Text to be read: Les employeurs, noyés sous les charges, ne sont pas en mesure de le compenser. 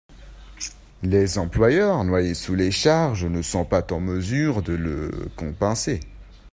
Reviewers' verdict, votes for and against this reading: rejected, 1, 2